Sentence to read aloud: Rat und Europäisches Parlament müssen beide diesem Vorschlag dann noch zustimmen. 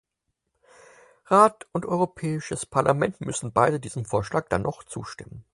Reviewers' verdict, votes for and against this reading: accepted, 4, 0